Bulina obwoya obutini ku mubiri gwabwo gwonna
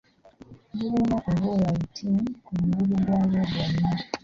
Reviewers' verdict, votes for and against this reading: rejected, 0, 2